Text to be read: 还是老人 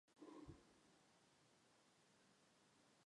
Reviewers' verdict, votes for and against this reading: rejected, 1, 4